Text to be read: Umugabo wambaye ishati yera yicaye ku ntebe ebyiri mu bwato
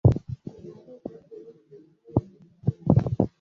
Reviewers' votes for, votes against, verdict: 0, 2, rejected